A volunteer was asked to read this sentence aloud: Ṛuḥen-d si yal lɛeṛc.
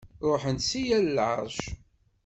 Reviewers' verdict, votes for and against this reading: accepted, 2, 0